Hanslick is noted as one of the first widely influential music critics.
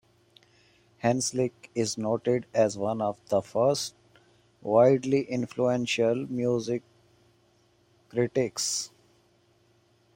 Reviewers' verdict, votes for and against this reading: accepted, 2, 0